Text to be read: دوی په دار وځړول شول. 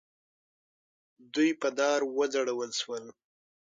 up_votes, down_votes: 6, 3